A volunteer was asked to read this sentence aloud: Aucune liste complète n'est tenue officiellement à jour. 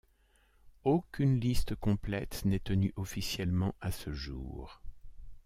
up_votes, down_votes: 1, 2